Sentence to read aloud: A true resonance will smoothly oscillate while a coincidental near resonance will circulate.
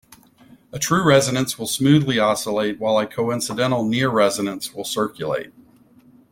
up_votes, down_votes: 2, 0